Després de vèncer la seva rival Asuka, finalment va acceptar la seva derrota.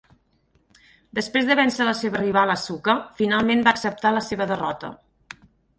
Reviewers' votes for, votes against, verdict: 4, 0, accepted